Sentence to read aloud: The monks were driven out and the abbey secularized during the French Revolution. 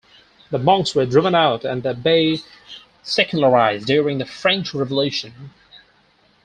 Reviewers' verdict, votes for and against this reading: rejected, 2, 4